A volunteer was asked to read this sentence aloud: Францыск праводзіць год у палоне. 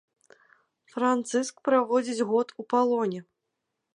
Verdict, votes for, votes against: accepted, 3, 0